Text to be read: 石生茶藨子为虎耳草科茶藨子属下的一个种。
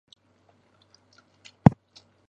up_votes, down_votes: 0, 3